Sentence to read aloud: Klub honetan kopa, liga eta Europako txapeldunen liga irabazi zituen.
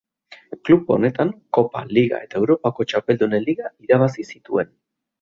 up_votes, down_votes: 2, 0